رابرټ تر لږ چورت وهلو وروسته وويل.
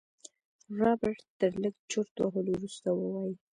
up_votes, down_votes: 1, 2